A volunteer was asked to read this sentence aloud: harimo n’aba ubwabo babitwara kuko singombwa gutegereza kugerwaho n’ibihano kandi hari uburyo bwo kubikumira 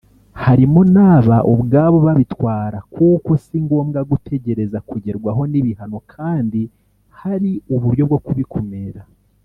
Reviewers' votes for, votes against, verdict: 0, 2, rejected